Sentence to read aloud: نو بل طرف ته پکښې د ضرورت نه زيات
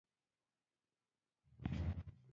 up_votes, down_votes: 1, 2